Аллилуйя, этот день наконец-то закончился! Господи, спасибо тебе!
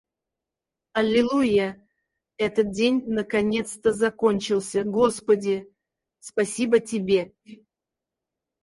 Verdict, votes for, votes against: rejected, 2, 4